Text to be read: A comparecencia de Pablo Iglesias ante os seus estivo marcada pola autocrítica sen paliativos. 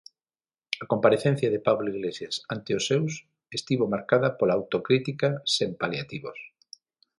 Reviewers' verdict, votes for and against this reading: accepted, 6, 0